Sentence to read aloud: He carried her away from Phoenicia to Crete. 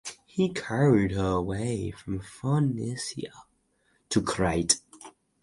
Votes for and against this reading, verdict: 4, 0, accepted